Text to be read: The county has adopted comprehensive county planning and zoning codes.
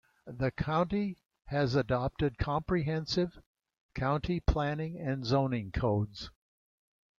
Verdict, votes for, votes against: accepted, 2, 0